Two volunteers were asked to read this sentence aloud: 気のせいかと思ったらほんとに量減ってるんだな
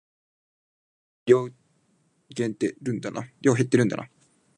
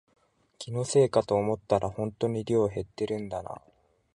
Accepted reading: second